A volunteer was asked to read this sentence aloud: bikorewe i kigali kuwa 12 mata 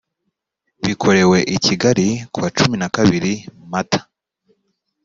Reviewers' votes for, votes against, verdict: 0, 2, rejected